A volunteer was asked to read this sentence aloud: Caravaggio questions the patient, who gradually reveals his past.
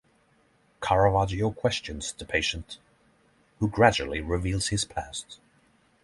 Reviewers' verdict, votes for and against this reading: accepted, 6, 0